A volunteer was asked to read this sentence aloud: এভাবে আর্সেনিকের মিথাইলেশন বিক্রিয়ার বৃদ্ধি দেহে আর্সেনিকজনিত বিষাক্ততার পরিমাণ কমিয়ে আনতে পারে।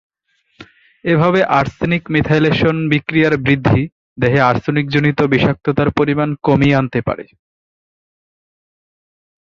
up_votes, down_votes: 1, 2